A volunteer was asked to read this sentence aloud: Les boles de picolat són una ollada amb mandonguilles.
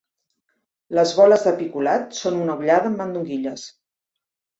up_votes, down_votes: 2, 0